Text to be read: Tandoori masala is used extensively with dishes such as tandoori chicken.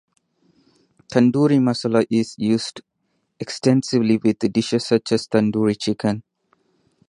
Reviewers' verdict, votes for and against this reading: rejected, 0, 4